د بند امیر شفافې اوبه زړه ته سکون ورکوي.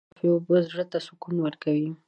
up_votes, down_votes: 1, 2